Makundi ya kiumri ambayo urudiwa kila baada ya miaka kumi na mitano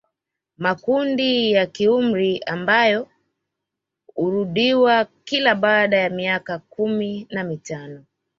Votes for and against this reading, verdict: 2, 0, accepted